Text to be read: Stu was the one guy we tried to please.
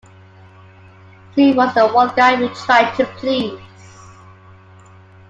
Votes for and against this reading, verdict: 2, 1, accepted